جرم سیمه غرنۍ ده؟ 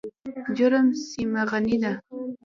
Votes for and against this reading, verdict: 0, 2, rejected